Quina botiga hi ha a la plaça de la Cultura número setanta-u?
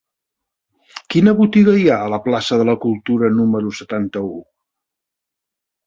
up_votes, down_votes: 4, 0